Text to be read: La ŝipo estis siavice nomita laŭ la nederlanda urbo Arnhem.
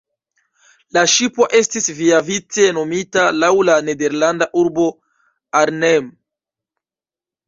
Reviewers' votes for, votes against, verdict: 1, 2, rejected